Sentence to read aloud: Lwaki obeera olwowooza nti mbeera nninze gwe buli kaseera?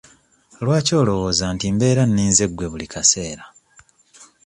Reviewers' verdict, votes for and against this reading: rejected, 1, 2